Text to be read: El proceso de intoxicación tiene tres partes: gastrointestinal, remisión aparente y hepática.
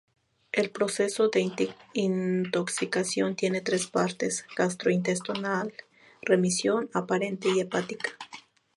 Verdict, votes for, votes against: rejected, 0, 2